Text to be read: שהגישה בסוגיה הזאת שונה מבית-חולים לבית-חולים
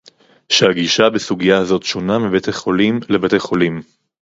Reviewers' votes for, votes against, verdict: 2, 2, rejected